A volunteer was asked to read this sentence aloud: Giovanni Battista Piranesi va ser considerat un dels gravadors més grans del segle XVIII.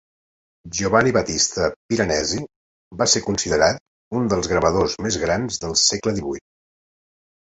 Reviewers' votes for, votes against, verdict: 2, 0, accepted